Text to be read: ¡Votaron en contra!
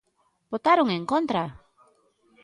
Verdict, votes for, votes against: accepted, 2, 0